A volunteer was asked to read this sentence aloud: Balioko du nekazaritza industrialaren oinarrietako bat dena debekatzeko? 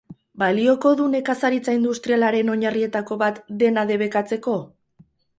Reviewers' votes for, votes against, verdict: 2, 2, rejected